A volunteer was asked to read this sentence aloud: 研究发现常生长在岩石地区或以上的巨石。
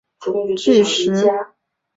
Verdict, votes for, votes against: rejected, 0, 3